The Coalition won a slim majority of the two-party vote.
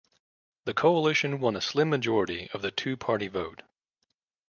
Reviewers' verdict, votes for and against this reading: accepted, 2, 0